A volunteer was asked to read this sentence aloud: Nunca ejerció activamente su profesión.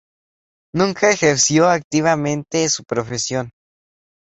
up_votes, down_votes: 4, 0